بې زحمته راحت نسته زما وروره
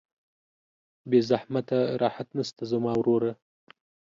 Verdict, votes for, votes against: accepted, 2, 0